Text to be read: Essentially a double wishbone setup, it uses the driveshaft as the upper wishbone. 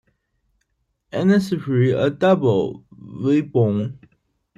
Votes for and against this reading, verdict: 0, 2, rejected